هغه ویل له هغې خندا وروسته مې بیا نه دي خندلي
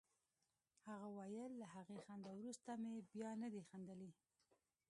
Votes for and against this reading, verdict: 0, 2, rejected